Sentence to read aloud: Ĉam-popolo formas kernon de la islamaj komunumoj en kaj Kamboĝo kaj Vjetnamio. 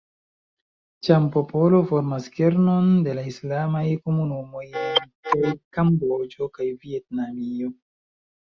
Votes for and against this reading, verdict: 0, 2, rejected